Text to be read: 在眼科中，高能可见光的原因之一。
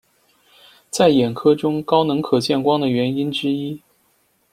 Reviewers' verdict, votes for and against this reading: accepted, 2, 0